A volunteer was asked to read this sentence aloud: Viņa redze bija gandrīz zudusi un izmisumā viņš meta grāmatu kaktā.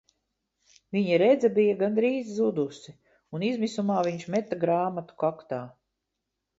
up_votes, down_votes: 2, 0